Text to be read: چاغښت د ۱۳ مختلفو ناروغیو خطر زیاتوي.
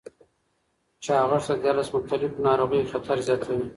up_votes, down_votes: 0, 2